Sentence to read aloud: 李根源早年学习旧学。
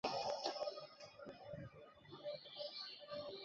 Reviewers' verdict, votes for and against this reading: rejected, 0, 3